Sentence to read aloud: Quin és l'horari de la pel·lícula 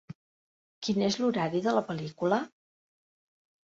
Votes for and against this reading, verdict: 3, 0, accepted